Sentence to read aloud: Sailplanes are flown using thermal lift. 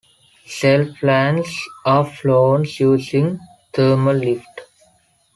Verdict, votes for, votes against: accepted, 3, 1